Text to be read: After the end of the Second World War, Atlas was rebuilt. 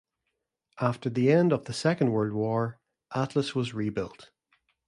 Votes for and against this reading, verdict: 2, 0, accepted